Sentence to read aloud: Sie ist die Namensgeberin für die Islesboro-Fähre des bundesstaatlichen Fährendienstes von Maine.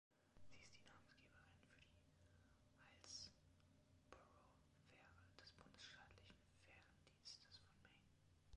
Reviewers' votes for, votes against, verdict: 0, 2, rejected